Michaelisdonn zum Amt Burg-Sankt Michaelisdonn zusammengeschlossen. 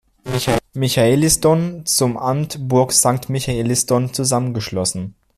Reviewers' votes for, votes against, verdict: 0, 2, rejected